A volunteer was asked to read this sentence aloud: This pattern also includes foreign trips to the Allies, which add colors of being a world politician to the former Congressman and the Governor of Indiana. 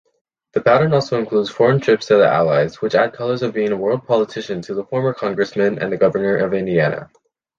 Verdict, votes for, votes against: rejected, 0, 2